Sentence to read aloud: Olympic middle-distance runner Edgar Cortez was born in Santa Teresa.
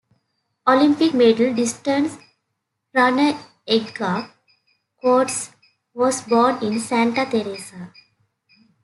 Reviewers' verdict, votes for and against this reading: rejected, 0, 2